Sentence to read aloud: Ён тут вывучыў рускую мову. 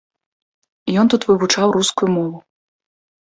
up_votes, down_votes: 0, 2